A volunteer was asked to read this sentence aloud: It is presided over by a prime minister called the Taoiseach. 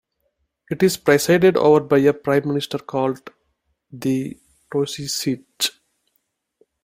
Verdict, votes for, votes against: rejected, 0, 2